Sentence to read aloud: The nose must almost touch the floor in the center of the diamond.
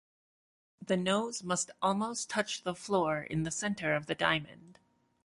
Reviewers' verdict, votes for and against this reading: accepted, 2, 0